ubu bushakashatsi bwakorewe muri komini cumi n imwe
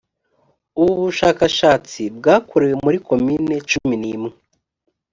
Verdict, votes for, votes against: accepted, 2, 0